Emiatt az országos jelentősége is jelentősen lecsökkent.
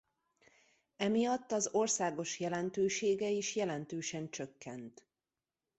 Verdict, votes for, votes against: rejected, 0, 2